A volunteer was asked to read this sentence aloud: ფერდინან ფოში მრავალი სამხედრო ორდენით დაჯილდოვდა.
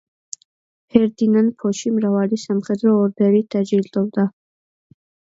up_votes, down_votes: 2, 0